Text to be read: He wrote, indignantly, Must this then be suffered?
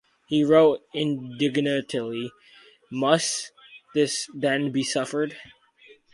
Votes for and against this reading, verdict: 0, 4, rejected